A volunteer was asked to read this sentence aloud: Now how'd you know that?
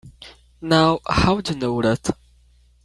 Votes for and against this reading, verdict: 1, 2, rejected